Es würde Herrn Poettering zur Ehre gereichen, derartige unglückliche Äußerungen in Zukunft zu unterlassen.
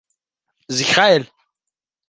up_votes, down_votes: 0, 2